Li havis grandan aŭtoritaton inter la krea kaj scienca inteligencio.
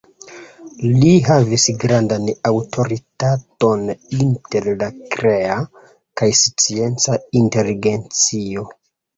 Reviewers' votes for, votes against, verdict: 2, 0, accepted